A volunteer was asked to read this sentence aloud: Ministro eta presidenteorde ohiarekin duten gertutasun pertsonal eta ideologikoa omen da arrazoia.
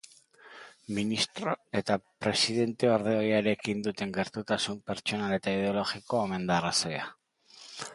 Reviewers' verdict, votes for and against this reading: accepted, 2, 0